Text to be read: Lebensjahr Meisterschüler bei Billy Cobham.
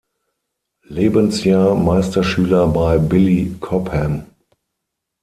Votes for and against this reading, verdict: 6, 0, accepted